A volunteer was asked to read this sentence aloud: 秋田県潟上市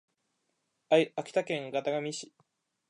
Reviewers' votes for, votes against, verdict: 1, 2, rejected